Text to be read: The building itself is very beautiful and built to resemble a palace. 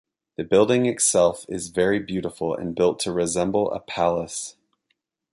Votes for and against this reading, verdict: 2, 0, accepted